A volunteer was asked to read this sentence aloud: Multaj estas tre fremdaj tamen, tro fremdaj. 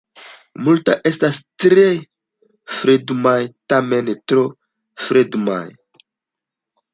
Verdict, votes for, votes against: rejected, 1, 2